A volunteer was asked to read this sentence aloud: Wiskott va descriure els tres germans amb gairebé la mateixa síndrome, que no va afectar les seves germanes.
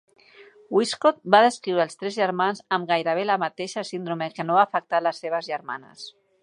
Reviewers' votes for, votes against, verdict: 2, 0, accepted